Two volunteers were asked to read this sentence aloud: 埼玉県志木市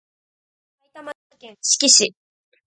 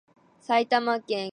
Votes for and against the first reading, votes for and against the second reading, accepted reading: 2, 1, 1, 2, first